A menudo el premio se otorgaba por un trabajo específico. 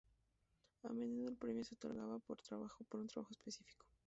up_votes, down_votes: 0, 2